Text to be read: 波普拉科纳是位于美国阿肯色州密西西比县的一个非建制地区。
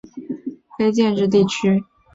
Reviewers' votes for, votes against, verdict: 0, 2, rejected